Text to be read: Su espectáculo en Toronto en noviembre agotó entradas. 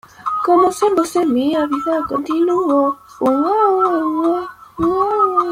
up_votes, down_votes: 0, 2